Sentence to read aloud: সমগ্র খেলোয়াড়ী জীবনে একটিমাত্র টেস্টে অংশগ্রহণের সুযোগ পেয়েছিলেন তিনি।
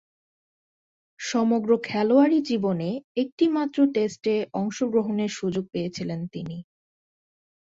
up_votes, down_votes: 2, 0